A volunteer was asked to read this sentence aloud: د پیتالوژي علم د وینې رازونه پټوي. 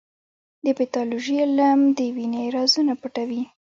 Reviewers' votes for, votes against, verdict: 2, 0, accepted